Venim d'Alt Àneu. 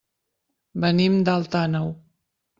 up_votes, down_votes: 2, 0